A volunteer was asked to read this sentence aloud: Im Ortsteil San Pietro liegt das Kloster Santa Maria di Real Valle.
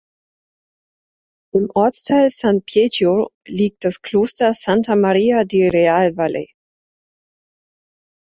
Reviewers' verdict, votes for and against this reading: rejected, 2, 3